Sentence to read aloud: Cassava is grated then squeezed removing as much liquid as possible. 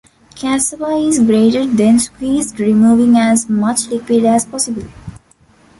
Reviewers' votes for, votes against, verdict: 1, 2, rejected